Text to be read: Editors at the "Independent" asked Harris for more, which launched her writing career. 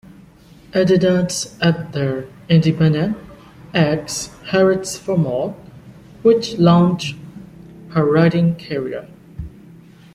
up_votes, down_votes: 0, 2